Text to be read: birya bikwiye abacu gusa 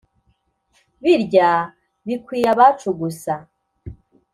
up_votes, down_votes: 4, 0